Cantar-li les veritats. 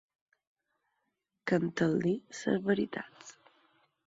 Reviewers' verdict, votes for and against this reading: rejected, 2, 4